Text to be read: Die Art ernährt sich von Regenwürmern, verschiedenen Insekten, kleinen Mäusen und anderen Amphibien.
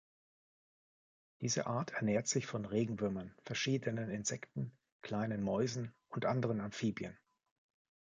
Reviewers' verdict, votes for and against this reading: rejected, 1, 2